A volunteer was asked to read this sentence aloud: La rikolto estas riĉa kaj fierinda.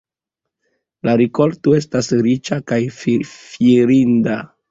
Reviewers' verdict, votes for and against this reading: rejected, 1, 2